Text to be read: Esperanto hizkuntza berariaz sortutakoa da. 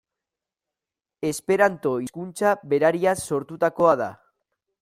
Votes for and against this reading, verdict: 2, 0, accepted